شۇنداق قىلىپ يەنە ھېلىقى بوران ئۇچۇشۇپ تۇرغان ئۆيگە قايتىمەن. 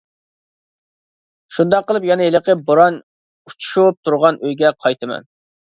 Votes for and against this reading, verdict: 2, 0, accepted